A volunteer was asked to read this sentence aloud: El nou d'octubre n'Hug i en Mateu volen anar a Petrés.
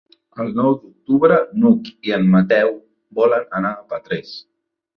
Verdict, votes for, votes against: accepted, 3, 0